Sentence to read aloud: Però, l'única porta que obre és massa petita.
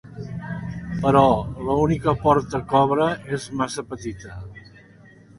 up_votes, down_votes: 1, 2